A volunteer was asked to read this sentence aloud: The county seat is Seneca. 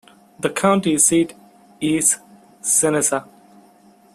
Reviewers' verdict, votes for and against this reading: accepted, 2, 0